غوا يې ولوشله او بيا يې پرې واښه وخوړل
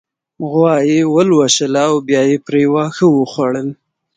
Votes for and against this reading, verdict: 2, 0, accepted